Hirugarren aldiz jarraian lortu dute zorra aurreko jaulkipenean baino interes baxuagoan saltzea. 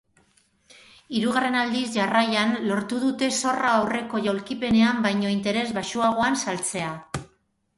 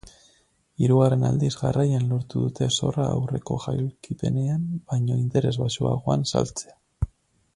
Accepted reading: first